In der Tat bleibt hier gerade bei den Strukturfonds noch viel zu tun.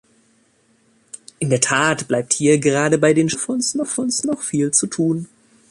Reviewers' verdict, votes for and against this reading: rejected, 0, 3